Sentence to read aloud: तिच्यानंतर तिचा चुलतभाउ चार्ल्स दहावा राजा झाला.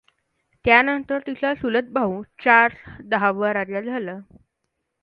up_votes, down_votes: 1, 2